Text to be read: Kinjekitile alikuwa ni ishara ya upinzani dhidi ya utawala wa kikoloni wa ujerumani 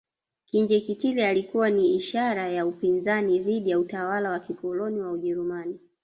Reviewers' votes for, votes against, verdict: 0, 2, rejected